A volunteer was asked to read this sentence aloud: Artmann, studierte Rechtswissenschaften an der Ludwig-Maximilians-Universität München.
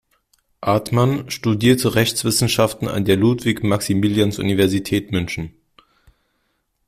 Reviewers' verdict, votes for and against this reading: accepted, 2, 1